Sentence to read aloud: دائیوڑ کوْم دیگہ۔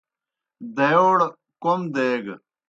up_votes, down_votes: 2, 0